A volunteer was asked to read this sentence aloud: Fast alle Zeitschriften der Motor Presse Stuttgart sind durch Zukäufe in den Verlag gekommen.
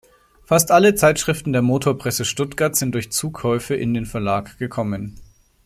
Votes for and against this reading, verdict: 2, 0, accepted